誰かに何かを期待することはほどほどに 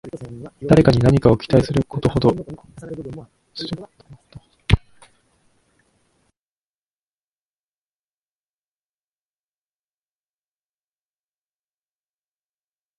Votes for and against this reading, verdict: 0, 2, rejected